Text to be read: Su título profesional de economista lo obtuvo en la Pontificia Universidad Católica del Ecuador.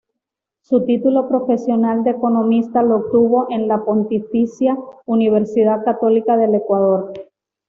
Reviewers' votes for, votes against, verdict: 2, 0, accepted